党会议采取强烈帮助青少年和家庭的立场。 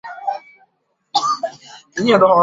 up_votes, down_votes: 0, 3